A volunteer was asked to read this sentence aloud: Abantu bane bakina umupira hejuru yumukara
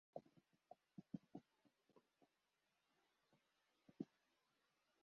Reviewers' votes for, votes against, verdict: 0, 2, rejected